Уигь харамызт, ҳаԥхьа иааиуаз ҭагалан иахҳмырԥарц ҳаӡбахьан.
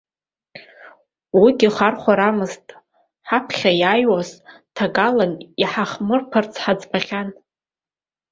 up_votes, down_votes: 0, 2